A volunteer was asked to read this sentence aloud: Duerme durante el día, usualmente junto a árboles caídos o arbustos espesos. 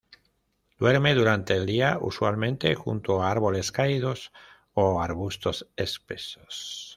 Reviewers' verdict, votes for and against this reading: accepted, 2, 0